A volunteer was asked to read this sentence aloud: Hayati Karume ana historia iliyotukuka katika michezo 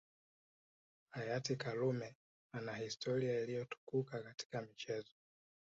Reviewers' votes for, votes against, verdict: 2, 0, accepted